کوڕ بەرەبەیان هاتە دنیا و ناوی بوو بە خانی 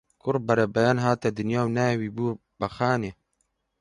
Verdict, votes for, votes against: rejected, 0, 2